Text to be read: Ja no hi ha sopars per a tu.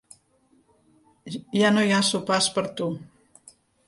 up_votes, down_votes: 0, 3